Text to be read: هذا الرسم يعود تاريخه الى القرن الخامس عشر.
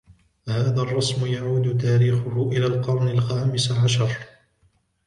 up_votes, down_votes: 1, 2